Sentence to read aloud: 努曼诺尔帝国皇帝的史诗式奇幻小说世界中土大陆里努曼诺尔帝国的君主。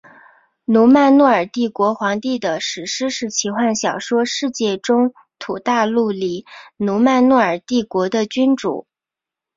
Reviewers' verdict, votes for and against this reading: rejected, 1, 2